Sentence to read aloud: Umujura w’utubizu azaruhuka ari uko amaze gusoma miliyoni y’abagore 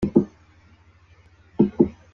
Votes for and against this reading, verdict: 0, 2, rejected